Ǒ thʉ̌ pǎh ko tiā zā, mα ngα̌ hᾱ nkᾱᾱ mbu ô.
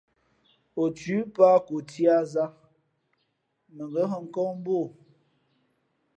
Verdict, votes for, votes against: accepted, 2, 0